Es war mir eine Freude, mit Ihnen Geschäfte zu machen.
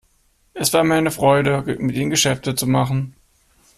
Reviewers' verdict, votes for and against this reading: accepted, 2, 1